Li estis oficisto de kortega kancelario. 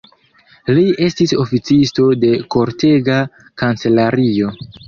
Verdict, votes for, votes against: accepted, 2, 1